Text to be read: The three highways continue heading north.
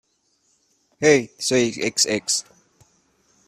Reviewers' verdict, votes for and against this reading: rejected, 0, 2